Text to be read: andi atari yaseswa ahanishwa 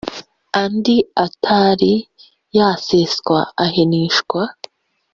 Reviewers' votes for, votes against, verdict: 0, 2, rejected